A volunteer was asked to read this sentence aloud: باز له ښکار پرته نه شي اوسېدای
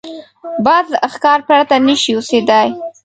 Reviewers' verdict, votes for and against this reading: rejected, 1, 2